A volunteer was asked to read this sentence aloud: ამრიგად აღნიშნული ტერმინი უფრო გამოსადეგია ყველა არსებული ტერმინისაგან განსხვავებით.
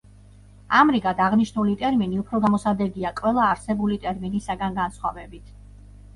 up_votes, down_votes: 2, 0